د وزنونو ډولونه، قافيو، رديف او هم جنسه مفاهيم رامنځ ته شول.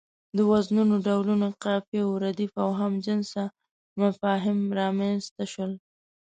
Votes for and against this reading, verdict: 2, 0, accepted